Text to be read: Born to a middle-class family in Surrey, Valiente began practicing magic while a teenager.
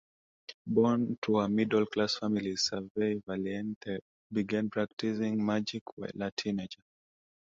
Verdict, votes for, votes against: rejected, 0, 2